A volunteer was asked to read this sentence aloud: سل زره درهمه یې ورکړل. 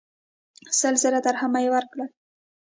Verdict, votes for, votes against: accepted, 2, 0